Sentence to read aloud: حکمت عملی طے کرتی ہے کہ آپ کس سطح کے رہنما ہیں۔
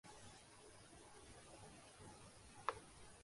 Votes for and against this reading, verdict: 0, 2, rejected